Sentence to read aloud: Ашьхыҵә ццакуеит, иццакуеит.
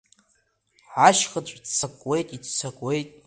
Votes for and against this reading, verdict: 1, 2, rejected